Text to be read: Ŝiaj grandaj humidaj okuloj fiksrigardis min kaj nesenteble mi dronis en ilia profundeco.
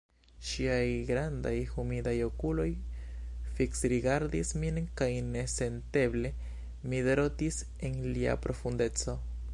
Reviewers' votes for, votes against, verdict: 0, 2, rejected